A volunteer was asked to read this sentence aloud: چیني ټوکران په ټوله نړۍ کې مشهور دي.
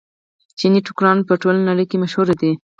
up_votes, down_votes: 4, 0